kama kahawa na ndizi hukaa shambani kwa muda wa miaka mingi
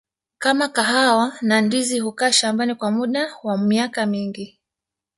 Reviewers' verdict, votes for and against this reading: rejected, 1, 2